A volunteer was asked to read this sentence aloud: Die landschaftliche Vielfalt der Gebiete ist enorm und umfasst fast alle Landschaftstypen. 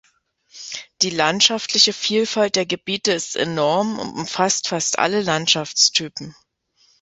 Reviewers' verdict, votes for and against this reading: rejected, 0, 2